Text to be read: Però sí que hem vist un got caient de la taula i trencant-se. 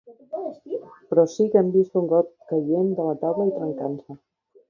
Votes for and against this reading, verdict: 2, 0, accepted